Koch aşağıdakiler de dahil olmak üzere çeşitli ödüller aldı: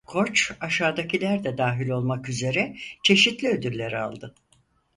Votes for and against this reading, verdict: 2, 4, rejected